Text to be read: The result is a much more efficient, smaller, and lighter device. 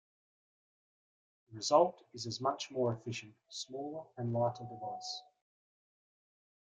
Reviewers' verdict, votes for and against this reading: accepted, 2, 1